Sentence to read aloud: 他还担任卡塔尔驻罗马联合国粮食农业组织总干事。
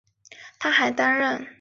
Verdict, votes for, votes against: rejected, 0, 2